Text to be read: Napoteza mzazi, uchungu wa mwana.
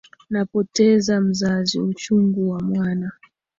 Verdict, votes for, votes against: accepted, 2, 0